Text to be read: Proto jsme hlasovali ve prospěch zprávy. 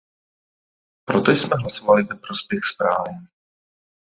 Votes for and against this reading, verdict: 0, 2, rejected